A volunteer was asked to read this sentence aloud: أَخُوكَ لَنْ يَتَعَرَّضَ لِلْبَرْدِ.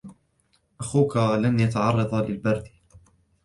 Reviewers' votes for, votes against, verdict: 2, 0, accepted